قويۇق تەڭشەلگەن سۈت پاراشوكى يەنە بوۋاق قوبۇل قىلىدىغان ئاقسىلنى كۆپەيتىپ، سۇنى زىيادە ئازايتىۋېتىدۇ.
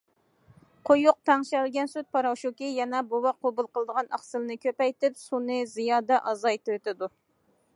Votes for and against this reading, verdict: 2, 0, accepted